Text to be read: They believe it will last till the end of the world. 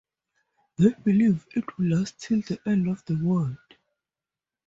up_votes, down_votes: 2, 0